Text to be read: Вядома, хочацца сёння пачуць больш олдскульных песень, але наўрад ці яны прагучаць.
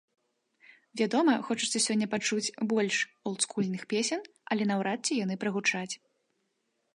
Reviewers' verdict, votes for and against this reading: rejected, 1, 2